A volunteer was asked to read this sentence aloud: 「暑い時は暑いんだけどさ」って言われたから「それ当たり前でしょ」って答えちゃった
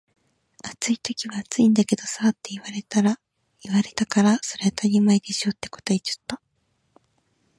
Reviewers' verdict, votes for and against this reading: rejected, 1, 2